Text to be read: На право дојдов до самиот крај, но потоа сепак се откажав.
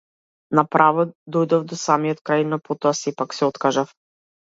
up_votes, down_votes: 2, 0